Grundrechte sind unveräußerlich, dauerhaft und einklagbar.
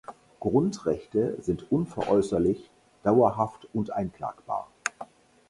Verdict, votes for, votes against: accepted, 4, 0